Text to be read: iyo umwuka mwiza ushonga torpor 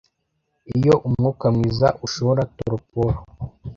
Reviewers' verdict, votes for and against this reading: rejected, 0, 2